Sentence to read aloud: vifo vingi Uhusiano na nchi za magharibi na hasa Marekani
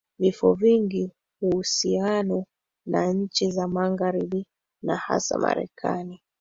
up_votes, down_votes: 1, 2